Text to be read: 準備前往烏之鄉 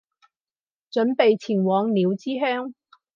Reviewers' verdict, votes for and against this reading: rejected, 0, 2